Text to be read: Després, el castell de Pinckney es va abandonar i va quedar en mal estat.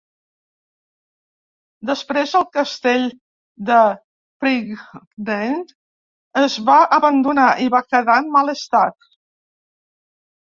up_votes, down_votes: 1, 2